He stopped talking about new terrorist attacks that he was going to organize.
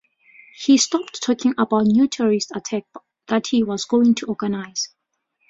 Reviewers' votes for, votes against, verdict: 0, 2, rejected